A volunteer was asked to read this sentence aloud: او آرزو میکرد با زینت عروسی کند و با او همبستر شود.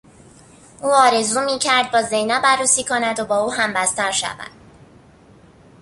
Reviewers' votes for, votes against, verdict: 0, 2, rejected